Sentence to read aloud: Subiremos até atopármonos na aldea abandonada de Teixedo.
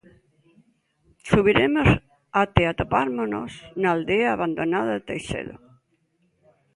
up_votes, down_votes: 1, 2